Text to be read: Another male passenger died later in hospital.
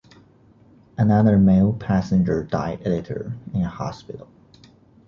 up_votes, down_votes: 2, 0